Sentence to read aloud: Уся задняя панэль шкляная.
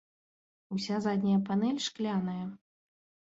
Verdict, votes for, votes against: rejected, 1, 2